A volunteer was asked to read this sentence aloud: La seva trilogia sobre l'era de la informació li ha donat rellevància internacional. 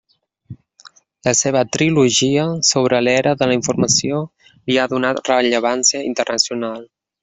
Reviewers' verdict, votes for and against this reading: accepted, 2, 0